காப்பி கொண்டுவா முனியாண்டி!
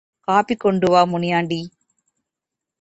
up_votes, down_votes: 2, 0